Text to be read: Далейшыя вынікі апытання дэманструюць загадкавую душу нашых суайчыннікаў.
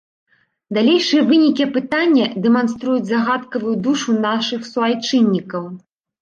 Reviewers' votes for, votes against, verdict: 2, 0, accepted